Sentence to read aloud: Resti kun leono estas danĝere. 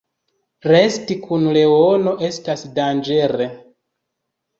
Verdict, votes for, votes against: accepted, 2, 0